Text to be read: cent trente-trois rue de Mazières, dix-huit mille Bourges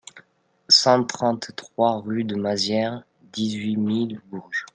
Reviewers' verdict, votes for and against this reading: accepted, 2, 0